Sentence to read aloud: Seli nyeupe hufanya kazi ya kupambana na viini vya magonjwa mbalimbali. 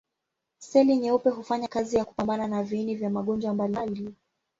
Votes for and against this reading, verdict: 0, 2, rejected